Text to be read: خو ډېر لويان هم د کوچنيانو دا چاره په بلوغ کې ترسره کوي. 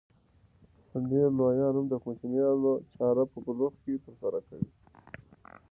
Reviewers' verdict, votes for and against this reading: rejected, 0, 2